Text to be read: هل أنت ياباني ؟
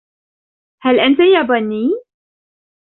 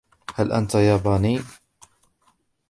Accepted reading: first